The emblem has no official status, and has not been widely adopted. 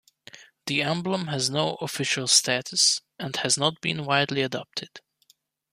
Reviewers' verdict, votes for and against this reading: accepted, 2, 0